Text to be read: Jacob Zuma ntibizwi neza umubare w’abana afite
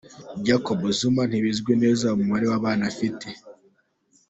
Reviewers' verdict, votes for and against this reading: accepted, 2, 0